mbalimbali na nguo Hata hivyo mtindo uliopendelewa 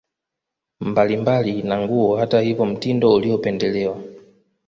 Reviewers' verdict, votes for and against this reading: rejected, 0, 2